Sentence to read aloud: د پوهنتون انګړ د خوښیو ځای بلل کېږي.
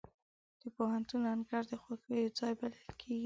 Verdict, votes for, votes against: accepted, 2, 0